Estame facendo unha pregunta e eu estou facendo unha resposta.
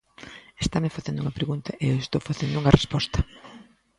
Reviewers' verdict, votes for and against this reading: accepted, 2, 0